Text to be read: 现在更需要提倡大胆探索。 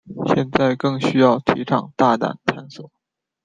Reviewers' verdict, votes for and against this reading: rejected, 1, 2